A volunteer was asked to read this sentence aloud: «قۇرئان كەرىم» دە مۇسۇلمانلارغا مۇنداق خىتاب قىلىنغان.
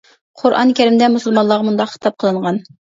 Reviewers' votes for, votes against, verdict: 2, 0, accepted